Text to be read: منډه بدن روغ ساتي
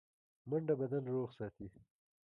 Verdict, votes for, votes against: rejected, 0, 2